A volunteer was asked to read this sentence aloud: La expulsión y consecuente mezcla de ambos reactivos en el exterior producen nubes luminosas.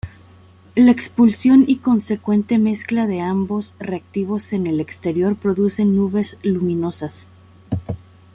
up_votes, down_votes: 2, 0